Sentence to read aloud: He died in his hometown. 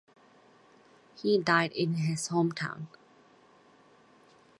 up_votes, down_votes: 4, 0